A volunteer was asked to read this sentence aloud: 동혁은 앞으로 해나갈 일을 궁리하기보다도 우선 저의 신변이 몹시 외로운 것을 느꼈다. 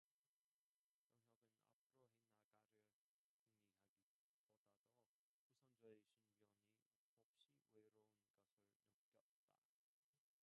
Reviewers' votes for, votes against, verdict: 0, 2, rejected